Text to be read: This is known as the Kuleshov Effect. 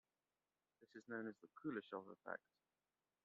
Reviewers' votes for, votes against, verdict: 1, 2, rejected